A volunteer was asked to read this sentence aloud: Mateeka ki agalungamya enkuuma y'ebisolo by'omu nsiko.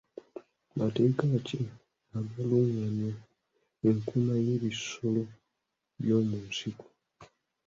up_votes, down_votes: 0, 2